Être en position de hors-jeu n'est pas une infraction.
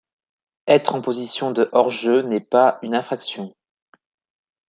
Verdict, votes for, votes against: accepted, 2, 0